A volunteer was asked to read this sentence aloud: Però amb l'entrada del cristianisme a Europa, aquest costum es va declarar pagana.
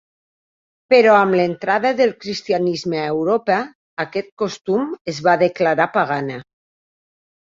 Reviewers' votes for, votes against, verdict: 3, 0, accepted